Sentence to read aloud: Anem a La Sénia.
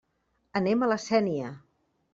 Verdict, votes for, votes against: accepted, 3, 0